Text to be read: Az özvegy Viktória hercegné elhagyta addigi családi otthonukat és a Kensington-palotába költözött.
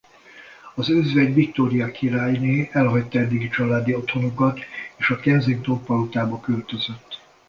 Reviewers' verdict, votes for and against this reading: rejected, 0, 2